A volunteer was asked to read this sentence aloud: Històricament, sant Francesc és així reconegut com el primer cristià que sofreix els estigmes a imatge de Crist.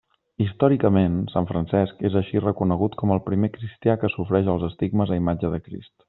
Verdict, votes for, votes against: accepted, 2, 0